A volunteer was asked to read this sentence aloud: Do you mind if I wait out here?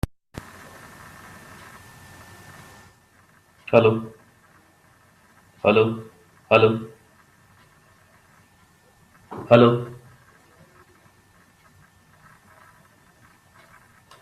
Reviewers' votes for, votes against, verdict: 0, 2, rejected